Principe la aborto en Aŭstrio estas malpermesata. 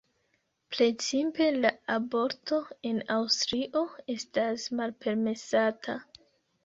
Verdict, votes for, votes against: rejected, 0, 2